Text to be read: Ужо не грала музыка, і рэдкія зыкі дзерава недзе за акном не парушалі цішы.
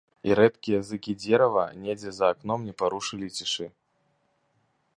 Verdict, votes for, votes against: rejected, 0, 2